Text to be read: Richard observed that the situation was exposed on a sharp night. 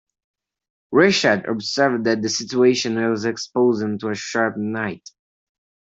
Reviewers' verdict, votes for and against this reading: rejected, 0, 2